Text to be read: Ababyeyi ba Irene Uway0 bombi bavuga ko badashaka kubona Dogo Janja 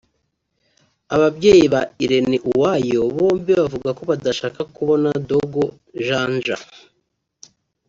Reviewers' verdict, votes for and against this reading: rejected, 0, 2